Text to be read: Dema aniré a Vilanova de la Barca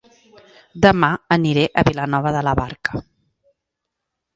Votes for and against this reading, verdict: 2, 0, accepted